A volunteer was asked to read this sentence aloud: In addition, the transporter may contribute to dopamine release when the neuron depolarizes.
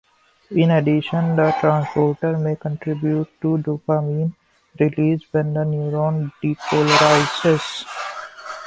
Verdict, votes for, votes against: rejected, 1, 3